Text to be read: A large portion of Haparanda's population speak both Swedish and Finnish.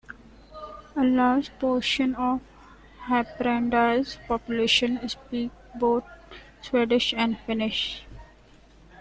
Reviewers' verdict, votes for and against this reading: accepted, 2, 1